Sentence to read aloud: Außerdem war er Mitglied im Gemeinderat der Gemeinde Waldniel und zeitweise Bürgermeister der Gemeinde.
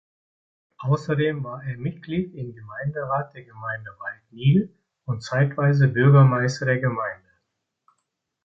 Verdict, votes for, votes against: accepted, 2, 0